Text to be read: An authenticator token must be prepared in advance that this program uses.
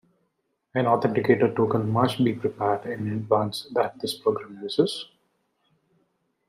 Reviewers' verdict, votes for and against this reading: accepted, 2, 0